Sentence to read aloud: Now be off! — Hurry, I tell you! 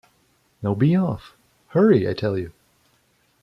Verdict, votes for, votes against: accepted, 2, 1